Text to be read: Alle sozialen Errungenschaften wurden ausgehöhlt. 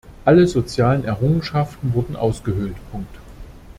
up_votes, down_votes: 0, 2